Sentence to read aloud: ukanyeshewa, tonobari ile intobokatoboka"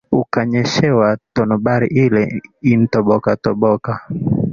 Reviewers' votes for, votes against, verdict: 2, 0, accepted